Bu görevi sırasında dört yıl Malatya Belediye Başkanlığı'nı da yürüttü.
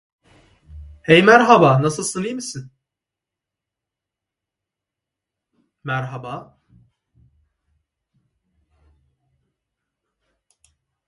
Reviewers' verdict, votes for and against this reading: rejected, 0, 2